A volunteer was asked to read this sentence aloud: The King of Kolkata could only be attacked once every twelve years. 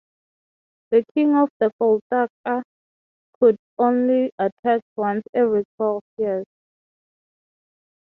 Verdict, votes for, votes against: rejected, 0, 3